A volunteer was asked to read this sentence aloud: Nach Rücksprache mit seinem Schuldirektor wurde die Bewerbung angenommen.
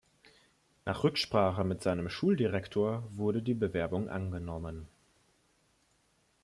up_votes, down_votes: 2, 0